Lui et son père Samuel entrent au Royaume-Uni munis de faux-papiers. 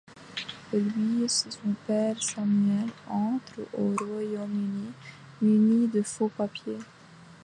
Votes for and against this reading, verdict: 2, 0, accepted